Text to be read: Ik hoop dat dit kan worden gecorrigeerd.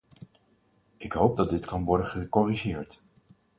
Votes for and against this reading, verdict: 4, 0, accepted